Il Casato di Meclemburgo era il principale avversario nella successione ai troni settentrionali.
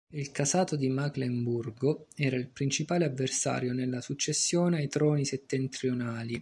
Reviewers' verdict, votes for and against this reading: rejected, 1, 2